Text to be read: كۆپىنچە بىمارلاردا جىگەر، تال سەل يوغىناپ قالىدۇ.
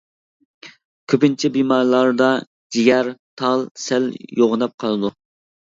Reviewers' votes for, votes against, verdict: 2, 0, accepted